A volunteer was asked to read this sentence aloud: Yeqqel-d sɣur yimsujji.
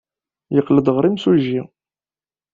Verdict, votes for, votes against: rejected, 1, 2